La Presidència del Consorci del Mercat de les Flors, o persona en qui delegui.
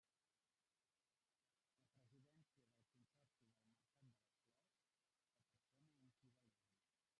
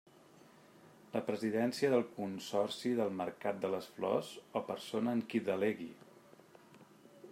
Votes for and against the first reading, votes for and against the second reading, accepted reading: 0, 2, 3, 0, second